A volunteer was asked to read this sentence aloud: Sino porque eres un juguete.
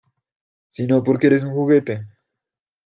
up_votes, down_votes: 2, 0